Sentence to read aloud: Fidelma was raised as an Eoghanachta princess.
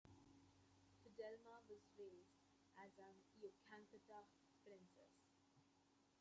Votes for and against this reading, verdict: 0, 2, rejected